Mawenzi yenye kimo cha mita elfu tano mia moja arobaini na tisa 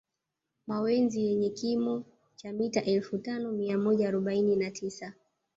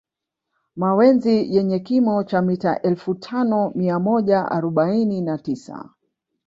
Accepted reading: second